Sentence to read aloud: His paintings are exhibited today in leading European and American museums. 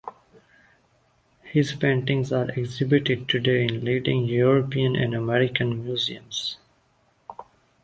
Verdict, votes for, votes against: accepted, 2, 0